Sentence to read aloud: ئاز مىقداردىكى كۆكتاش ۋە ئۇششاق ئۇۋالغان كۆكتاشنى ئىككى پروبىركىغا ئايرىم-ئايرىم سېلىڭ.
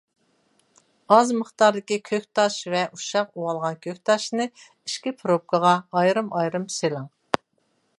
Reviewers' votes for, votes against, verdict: 2, 0, accepted